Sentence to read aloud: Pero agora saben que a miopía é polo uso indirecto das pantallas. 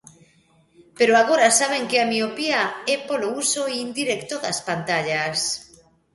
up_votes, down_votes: 2, 1